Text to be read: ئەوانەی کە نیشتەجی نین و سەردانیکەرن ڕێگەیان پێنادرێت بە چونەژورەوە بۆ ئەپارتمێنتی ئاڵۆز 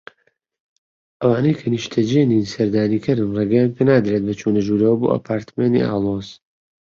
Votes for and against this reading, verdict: 2, 1, accepted